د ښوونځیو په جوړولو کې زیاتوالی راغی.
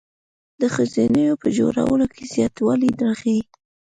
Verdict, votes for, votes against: accepted, 2, 1